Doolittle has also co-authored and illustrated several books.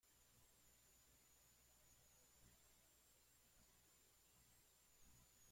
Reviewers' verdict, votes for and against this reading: rejected, 0, 2